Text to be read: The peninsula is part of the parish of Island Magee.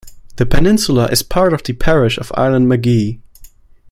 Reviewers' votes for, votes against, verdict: 1, 2, rejected